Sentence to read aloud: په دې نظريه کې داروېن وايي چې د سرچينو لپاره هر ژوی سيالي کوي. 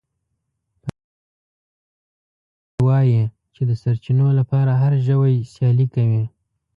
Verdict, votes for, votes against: rejected, 0, 2